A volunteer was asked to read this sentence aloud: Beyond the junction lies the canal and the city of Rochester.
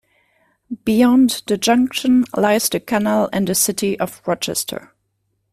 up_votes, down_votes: 2, 0